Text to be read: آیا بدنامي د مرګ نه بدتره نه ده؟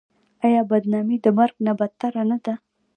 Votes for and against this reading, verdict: 1, 2, rejected